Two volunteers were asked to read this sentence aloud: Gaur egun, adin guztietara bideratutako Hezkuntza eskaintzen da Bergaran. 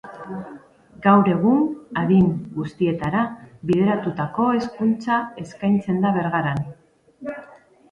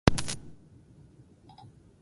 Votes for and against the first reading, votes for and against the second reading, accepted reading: 4, 0, 0, 4, first